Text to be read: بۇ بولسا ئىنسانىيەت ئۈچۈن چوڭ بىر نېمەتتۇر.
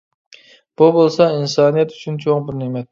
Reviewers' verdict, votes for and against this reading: rejected, 1, 2